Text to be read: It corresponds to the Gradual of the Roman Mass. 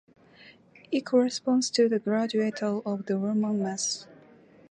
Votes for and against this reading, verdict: 0, 2, rejected